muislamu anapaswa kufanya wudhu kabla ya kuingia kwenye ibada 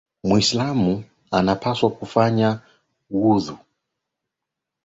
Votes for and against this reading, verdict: 5, 9, rejected